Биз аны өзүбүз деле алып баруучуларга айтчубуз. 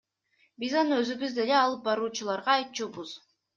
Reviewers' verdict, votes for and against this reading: accepted, 2, 1